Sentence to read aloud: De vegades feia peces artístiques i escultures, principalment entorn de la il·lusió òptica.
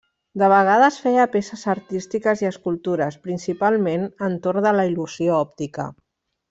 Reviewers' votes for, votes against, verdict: 3, 0, accepted